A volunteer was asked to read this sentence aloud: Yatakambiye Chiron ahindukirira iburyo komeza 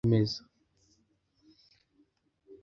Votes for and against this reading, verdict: 0, 2, rejected